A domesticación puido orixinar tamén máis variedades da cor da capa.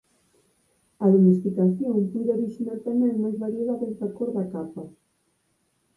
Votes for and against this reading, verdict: 4, 0, accepted